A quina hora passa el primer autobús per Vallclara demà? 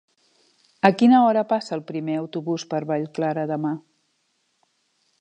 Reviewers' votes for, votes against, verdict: 3, 0, accepted